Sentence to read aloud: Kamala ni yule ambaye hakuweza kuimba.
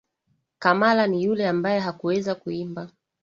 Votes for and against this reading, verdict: 2, 1, accepted